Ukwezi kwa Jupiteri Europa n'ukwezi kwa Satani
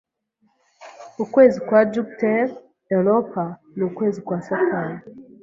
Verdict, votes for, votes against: accepted, 2, 0